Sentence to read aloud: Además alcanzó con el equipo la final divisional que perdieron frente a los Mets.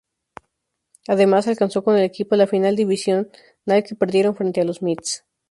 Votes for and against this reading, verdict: 0, 2, rejected